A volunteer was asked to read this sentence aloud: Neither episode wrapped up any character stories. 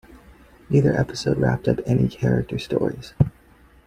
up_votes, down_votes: 2, 1